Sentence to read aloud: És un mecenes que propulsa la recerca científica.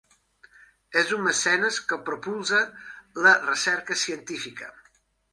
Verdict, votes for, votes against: accepted, 2, 0